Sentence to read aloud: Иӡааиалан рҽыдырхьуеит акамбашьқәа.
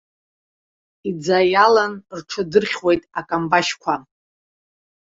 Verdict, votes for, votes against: rejected, 0, 2